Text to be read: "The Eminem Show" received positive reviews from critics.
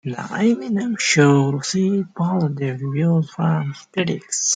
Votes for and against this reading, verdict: 1, 2, rejected